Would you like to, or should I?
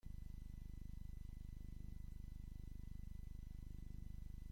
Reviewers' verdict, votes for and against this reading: rejected, 0, 2